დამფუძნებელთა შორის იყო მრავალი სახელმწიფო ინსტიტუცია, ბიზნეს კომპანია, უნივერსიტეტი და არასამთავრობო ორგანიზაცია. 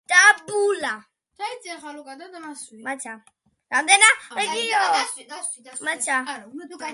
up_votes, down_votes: 0, 2